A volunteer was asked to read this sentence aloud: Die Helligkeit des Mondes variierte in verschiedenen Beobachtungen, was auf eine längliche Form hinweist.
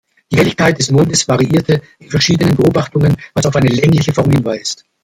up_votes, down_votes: 1, 2